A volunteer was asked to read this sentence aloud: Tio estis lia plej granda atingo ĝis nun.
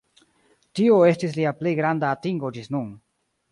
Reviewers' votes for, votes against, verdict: 2, 0, accepted